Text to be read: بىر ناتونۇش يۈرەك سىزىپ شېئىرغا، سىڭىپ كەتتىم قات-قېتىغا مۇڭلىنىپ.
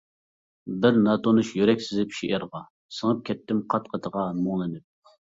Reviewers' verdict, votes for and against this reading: accepted, 2, 0